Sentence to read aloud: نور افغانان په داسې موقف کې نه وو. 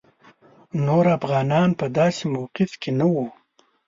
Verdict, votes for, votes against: accepted, 2, 0